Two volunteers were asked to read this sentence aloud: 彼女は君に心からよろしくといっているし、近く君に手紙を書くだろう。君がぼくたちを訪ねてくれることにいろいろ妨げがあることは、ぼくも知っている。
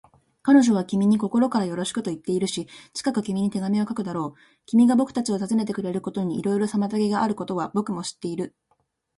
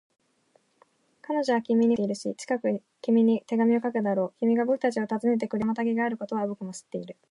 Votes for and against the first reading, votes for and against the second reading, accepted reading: 2, 1, 1, 2, first